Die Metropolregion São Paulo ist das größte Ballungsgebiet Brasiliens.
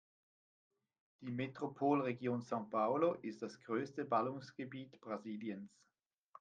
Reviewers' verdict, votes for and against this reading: accepted, 2, 1